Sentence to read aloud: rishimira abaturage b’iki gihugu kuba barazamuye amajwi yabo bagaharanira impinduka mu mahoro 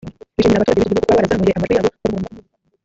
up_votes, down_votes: 0, 3